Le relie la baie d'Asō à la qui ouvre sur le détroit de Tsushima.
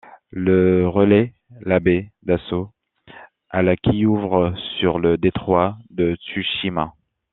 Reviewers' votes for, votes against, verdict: 0, 2, rejected